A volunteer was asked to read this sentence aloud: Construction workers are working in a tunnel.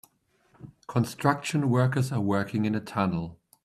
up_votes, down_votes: 2, 0